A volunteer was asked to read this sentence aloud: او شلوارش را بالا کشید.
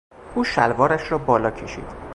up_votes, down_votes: 4, 0